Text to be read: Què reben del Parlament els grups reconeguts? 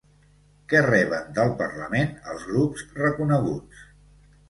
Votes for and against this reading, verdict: 0, 2, rejected